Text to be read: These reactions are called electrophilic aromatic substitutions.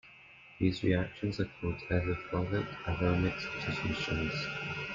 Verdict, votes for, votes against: rejected, 0, 2